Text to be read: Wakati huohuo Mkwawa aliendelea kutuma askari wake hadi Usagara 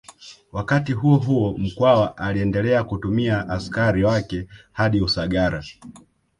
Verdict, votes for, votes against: rejected, 1, 2